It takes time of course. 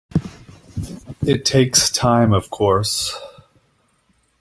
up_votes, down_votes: 2, 1